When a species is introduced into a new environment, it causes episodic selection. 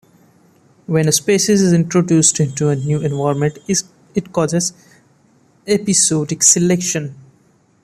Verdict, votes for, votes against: rejected, 0, 2